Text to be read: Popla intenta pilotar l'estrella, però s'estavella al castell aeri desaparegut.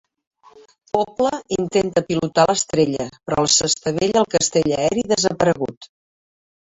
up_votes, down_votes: 1, 2